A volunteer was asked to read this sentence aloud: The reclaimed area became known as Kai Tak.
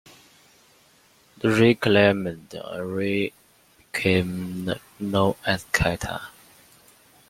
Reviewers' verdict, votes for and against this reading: rejected, 0, 2